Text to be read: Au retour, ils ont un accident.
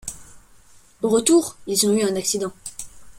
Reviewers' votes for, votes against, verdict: 0, 2, rejected